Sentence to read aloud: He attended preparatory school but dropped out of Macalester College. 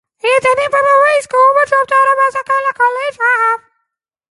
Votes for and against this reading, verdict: 0, 2, rejected